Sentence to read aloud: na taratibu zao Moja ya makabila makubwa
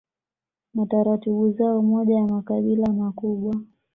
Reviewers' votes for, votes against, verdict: 2, 0, accepted